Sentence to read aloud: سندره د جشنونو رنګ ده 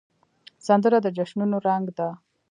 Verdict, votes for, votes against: accepted, 2, 1